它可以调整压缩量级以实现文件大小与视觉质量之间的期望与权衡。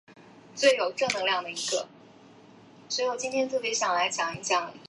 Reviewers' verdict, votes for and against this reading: rejected, 0, 2